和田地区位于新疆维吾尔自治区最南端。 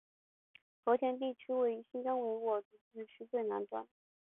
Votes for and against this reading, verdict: 0, 2, rejected